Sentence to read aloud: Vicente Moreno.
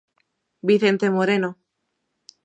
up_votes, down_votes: 2, 0